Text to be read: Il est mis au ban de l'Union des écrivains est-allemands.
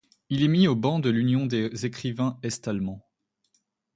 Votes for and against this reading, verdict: 1, 2, rejected